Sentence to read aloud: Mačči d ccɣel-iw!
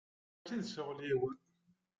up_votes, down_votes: 0, 2